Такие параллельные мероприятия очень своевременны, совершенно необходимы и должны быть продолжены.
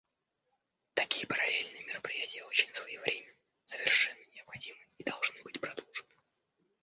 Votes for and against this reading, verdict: 0, 2, rejected